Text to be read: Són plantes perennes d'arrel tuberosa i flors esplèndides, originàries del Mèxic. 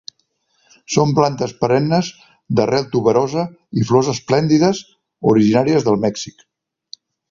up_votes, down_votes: 2, 0